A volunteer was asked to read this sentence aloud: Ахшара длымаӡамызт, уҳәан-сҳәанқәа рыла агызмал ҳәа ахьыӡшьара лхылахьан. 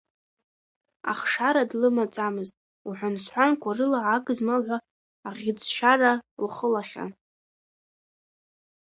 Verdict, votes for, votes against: rejected, 0, 2